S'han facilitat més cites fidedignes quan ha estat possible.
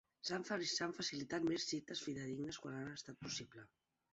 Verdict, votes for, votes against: rejected, 0, 3